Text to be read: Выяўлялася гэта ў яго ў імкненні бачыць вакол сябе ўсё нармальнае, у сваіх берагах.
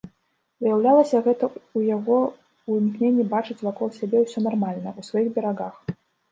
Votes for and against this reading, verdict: 0, 2, rejected